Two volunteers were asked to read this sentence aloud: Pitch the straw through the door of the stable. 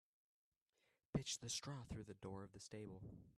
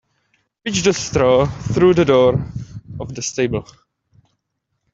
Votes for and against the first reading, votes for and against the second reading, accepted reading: 1, 2, 2, 0, second